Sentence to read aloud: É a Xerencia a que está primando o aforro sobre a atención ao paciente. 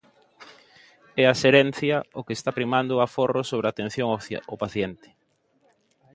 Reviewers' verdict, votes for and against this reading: rejected, 0, 2